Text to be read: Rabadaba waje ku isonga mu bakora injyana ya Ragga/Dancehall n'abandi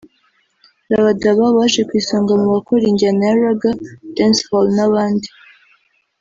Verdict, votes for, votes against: accepted, 2, 0